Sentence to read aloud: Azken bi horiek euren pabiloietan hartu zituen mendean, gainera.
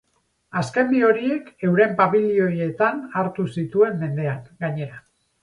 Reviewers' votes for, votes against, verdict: 0, 2, rejected